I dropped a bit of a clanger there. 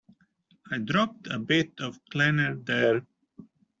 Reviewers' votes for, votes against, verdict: 0, 2, rejected